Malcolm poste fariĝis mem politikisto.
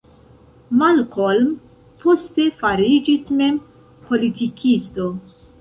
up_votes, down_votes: 2, 0